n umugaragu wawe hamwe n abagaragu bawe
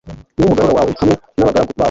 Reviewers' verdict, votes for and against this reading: rejected, 1, 2